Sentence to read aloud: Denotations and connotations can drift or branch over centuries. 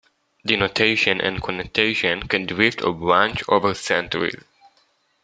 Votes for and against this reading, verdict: 0, 2, rejected